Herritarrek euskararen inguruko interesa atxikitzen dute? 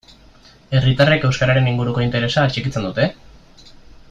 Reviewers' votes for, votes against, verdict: 2, 0, accepted